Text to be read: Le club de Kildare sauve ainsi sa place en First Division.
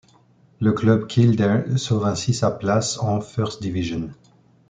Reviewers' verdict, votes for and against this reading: rejected, 1, 2